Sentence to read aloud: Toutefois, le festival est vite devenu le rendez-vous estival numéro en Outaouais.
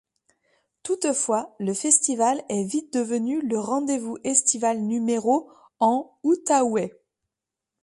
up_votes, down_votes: 2, 0